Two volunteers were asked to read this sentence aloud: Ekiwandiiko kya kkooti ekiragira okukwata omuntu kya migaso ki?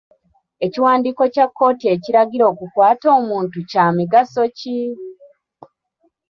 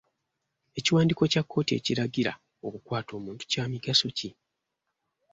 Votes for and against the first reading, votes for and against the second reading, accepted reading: 1, 2, 2, 0, second